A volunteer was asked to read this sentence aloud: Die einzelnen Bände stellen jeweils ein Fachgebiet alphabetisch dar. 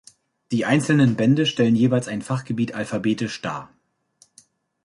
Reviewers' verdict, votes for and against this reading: accepted, 2, 0